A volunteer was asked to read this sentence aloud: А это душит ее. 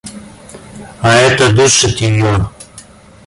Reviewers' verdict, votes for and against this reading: rejected, 1, 2